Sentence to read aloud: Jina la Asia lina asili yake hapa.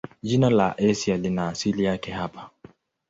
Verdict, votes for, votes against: accepted, 2, 0